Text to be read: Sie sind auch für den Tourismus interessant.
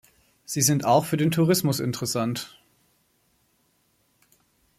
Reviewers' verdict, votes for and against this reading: accepted, 2, 0